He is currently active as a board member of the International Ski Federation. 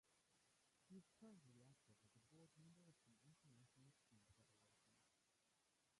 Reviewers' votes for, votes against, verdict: 0, 2, rejected